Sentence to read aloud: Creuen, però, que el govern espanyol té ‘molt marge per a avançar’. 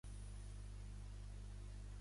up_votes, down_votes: 0, 3